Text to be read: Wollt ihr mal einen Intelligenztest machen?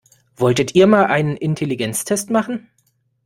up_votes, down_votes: 1, 2